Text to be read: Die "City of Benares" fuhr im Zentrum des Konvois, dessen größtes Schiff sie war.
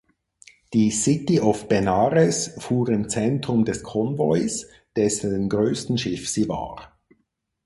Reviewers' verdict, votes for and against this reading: rejected, 2, 4